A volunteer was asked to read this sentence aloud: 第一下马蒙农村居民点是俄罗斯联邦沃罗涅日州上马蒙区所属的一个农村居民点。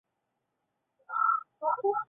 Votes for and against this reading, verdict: 3, 2, accepted